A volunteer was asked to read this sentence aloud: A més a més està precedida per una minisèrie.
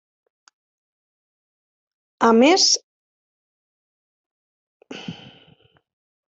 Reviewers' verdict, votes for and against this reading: rejected, 0, 2